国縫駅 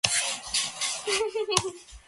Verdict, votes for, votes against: rejected, 0, 2